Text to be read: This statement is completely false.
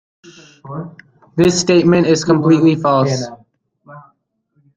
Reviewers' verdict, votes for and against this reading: rejected, 1, 2